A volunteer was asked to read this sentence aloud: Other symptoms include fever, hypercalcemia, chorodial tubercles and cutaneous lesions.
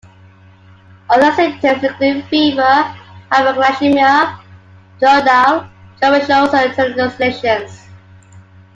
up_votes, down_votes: 0, 2